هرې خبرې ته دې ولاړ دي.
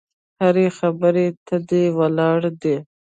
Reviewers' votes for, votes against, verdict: 1, 2, rejected